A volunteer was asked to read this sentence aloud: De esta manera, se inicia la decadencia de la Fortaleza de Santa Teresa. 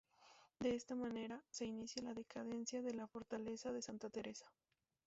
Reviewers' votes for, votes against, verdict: 0, 2, rejected